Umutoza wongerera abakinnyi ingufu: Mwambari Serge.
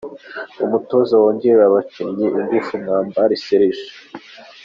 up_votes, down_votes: 2, 0